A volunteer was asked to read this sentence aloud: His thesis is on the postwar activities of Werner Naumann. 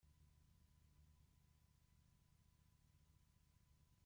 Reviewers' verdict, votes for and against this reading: rejected, 0, 2